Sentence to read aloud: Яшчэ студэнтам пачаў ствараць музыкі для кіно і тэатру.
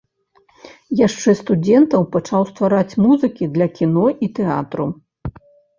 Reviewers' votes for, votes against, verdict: 0, 2, rejected